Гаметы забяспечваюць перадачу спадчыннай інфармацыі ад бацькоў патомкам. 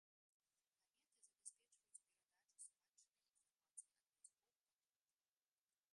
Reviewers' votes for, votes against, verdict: 0, 2, rejected